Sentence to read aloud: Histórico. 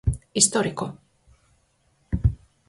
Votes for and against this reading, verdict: 4, 0, accepted